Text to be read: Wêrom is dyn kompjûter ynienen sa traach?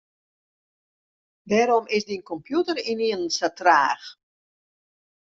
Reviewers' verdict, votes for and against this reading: accepted, 2, 0